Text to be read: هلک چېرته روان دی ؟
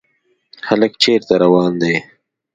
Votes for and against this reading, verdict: 2, 0, accepted